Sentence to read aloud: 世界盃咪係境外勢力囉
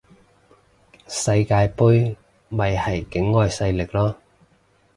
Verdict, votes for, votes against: accepted, 2, 0